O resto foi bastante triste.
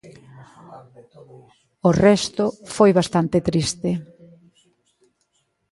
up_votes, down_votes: 1, 2